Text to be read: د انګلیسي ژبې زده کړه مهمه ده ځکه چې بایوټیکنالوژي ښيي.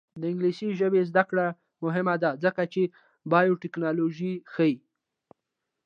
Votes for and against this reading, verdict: 2, 0, accepted